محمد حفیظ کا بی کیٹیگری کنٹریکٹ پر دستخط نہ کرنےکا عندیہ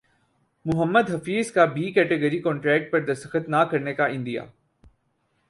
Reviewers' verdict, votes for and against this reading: accepted, 2, 0